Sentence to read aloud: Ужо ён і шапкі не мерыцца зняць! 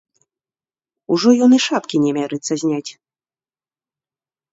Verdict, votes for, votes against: rejected, 0, 2